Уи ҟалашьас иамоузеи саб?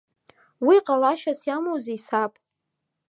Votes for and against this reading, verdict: 2, 0, accepted